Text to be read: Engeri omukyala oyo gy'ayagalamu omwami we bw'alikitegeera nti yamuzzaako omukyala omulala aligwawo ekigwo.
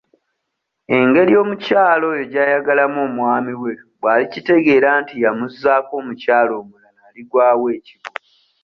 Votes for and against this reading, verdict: 0, 2, rejected